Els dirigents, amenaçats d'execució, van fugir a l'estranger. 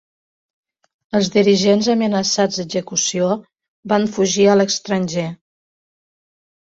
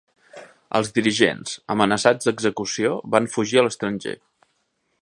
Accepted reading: second